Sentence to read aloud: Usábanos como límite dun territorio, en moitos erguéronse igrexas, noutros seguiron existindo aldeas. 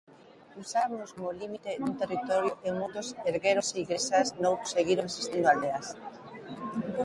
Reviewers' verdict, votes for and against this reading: rejected, 1, 2